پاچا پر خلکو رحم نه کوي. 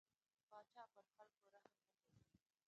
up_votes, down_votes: 1, 3